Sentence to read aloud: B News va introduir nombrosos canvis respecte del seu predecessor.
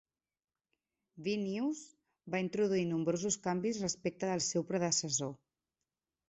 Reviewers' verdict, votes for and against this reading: accepted, 2, 0